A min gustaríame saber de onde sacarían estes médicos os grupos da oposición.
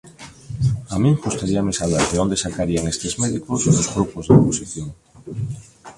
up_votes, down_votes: 1, 2